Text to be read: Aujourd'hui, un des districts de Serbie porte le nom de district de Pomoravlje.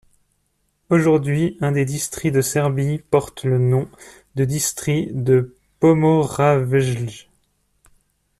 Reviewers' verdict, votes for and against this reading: rejected, 1, 2